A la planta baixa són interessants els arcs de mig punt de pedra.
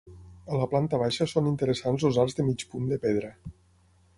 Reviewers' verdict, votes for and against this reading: rejected, 3, 6